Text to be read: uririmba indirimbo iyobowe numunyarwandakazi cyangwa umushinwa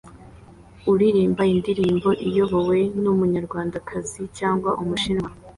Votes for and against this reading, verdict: 2, 0, accepted